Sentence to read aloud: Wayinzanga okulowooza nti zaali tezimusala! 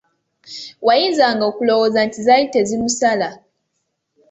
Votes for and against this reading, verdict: 2, 0, accepted